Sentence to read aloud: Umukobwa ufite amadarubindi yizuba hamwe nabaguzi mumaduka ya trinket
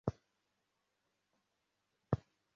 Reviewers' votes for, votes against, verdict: 0, 2, rejected